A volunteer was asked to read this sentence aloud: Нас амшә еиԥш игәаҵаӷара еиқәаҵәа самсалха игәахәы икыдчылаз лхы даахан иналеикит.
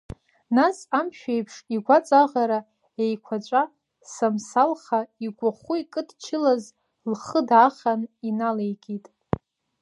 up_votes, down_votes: 1, 2